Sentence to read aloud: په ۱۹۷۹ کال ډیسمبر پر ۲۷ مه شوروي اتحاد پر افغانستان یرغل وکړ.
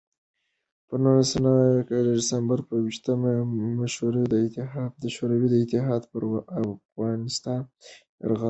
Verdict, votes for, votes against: rejected, 0, 2